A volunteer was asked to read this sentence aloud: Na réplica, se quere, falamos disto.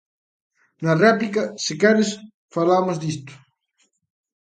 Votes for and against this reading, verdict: 0, 2, rejected